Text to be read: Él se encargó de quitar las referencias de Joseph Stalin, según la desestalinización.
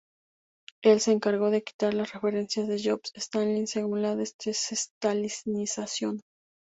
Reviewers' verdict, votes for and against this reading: rejected, 0, 2